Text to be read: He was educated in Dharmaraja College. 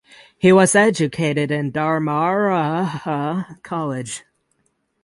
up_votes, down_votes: 0, 3